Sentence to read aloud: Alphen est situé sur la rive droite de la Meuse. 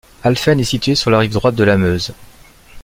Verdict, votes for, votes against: accepted, 2, 0